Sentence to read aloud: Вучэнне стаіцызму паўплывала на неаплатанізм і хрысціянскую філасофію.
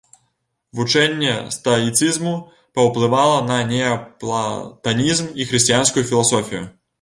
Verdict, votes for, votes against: rejected, 1, 2